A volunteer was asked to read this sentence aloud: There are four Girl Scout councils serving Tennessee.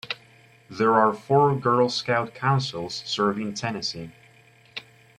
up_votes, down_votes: 2, 1